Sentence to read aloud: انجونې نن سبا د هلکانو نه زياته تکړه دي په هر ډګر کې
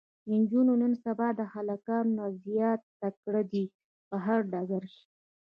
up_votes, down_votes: 2, 0